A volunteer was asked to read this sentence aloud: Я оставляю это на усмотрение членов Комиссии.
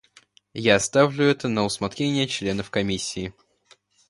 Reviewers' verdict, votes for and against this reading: rejected, 1, 2